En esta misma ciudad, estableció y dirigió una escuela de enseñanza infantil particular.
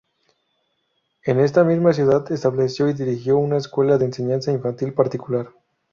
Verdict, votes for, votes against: accepted, 2, 0